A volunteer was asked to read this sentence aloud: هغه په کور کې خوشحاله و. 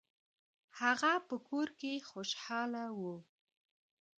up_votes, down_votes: 1, 2